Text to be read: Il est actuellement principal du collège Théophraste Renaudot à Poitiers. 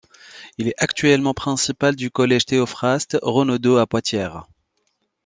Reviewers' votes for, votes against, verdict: 0, 2, rejected